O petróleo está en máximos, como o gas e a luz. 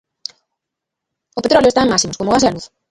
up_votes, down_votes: 0, 2